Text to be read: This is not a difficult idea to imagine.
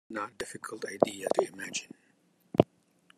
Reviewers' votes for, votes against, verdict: 0, 2, rejected